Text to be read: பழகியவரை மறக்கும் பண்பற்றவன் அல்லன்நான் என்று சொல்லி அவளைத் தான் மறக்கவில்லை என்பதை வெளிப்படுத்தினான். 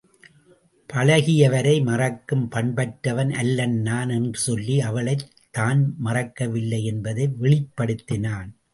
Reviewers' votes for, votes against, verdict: 2, 2, rejected